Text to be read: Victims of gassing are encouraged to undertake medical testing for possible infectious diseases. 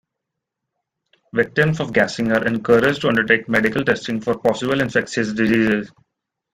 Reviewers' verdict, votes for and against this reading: accepted, 2, 0